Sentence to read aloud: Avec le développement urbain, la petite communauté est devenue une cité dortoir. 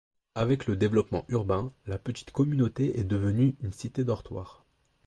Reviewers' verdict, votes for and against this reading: accepted, 2, 0